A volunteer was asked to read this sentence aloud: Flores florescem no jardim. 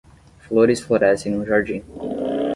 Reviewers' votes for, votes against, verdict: 10, 0, accepted